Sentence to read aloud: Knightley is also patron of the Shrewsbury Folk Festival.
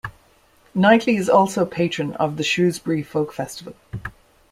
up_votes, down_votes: 2, 0